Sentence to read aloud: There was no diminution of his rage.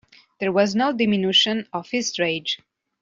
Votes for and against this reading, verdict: 2, 0, accepted